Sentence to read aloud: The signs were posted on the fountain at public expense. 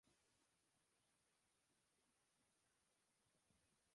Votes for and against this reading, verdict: 0, 2, rejected